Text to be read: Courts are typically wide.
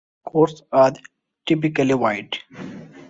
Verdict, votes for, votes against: accepted, 3, 0